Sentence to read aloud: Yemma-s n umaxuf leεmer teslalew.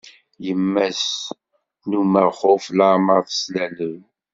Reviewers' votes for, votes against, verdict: 2, 0, accepted